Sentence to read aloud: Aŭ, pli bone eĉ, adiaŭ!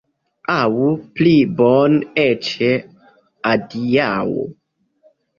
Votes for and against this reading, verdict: 2, 1, accepted